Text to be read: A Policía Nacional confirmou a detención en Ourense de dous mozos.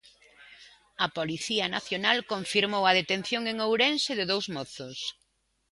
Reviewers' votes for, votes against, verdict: 2, 0, accepted